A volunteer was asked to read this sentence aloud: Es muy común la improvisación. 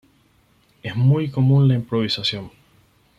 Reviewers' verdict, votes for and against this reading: accepted, 4, 0